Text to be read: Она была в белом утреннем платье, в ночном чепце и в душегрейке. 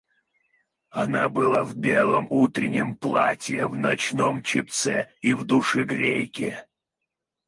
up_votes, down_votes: 2, 2